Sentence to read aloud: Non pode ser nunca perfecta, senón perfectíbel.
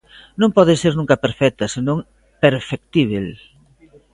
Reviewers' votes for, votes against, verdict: 2, 0, accepted